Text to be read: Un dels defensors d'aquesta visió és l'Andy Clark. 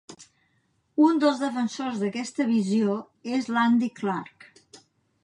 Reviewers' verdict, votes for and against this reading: accepted, 2, 0